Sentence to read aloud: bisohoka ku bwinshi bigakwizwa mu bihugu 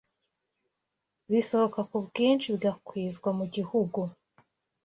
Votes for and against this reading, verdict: 1, 2, rejected